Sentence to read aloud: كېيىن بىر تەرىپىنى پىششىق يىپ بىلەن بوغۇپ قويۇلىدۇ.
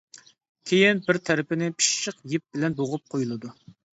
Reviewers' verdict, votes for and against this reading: accepted, 2, 0